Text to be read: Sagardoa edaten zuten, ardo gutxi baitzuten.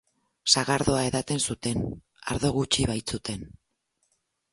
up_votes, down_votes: 4, 0